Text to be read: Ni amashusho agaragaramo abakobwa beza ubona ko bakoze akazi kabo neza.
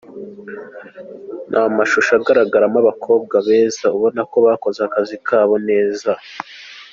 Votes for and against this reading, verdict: 3, 1, accepted